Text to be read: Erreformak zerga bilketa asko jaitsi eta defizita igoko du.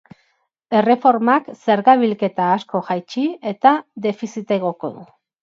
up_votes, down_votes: 6, 0